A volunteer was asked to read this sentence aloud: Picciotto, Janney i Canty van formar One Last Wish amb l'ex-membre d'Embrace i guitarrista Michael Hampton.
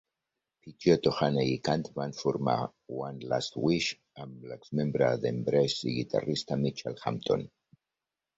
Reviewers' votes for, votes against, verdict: 0, 2, rejected